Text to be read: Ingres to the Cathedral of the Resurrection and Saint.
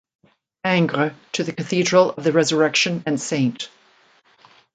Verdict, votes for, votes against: accepted, 2, 0